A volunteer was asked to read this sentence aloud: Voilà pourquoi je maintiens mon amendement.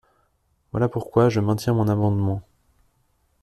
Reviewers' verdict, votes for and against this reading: accepted, 2, 0